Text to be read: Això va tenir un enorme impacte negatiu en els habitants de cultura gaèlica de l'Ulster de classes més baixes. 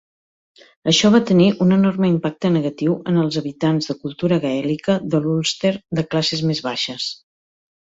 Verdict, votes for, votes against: accepted, 2, 0